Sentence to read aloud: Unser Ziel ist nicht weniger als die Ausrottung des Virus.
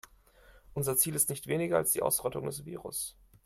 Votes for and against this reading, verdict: 2, 0, accepted